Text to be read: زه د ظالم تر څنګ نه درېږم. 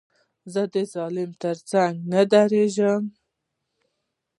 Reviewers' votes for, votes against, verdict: 2, 0, accepted